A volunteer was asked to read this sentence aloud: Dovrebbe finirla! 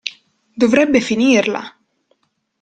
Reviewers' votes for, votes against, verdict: 2, 0, accepted